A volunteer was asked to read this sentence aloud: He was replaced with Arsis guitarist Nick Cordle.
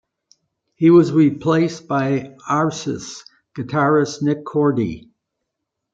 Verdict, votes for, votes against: rejected, 0, 2